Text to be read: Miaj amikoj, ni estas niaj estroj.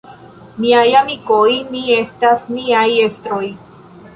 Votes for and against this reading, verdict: 2, 0, accepted